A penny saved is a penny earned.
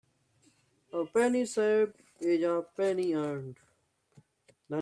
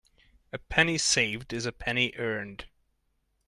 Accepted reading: second